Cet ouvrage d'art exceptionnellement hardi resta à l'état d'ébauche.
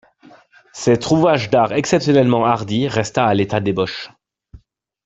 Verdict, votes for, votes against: rejected, 1, 2